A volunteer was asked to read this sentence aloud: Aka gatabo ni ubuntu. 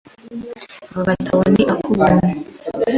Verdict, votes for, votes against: rejected, 0, 2